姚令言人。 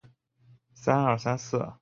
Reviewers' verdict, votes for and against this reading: rejected, 1, 2